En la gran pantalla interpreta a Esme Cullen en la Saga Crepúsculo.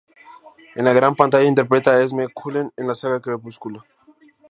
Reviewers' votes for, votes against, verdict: 2, 0, accepted